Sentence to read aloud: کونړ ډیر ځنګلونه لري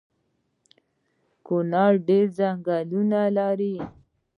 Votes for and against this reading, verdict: 3, 0, accepted